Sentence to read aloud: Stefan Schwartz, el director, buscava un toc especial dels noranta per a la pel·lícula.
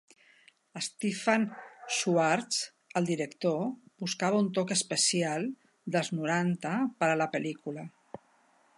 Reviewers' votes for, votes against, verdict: 4, 0, accepted